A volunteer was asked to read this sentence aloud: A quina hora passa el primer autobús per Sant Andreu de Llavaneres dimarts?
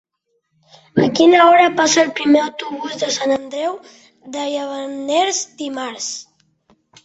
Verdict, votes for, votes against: rejected, 1, 2